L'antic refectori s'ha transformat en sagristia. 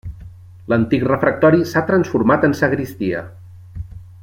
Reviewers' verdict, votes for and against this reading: rejected, 0, 2